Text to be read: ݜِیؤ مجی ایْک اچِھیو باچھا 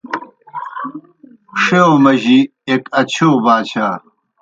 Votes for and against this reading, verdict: 2, 0, accepted